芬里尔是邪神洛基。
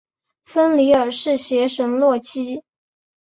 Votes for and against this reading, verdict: 4, 0, accepted